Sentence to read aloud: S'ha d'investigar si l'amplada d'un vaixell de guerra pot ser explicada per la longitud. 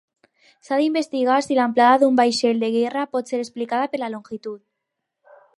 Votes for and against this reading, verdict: 0, 4, rejected